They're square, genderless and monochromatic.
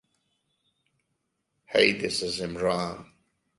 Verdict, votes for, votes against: rejected, 0, 2